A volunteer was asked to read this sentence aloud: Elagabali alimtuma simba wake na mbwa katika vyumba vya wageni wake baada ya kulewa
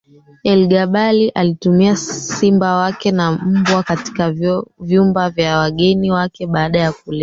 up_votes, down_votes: 0, 2